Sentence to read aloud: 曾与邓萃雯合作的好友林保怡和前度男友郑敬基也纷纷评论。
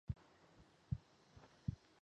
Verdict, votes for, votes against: rejected, 0, 2